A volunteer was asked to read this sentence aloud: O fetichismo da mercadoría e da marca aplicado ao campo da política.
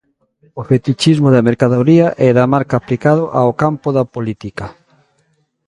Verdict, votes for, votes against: accepted, 2, 0